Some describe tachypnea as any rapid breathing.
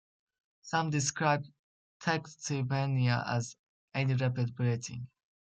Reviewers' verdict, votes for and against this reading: accepted, 2, 1